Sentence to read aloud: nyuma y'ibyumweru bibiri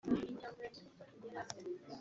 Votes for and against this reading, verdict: 1, 2, rejected